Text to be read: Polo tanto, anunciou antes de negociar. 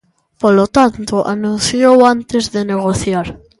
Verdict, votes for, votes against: accepted, 2, 0